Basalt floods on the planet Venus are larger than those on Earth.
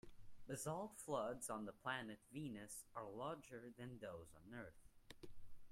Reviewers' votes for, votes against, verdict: 0, 2, rejected